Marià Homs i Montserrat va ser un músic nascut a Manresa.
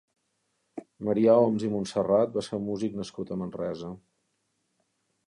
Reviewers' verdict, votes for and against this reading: accepted, 4, 0